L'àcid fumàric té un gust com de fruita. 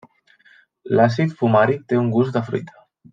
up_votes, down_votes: 0, 2